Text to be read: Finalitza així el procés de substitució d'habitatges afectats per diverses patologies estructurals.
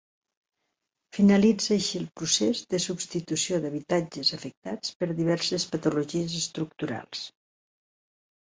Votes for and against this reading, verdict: 2, 0, accepted